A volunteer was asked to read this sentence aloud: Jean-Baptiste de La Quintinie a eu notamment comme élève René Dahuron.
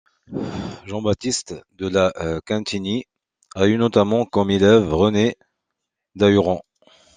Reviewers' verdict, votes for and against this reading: accepted, 2, 0